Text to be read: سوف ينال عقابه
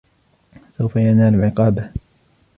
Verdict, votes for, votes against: accepted, 2, 1